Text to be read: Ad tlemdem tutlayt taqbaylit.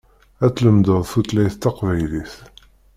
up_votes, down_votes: 0, 2